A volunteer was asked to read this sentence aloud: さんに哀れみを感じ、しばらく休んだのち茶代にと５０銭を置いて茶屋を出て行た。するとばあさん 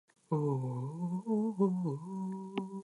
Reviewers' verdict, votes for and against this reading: rejected, 0, 2